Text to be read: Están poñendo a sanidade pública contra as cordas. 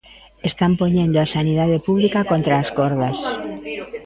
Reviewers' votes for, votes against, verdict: 2, 0, accepted